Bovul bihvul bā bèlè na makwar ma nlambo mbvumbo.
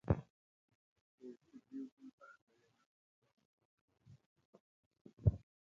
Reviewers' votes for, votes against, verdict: 0, 2, rejected